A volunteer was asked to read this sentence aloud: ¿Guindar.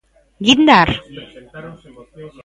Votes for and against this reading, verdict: 0, 2, rejected